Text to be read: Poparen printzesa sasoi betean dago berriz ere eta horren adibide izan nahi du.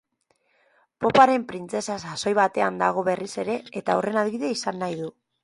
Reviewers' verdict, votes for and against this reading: accepted, 2, 1